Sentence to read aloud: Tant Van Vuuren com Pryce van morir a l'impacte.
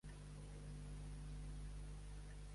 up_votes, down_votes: 1, 2